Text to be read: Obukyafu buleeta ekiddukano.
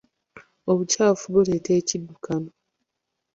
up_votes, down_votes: 2, 0